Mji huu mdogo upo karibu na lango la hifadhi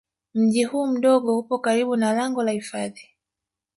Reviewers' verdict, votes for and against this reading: rejected, 1, 2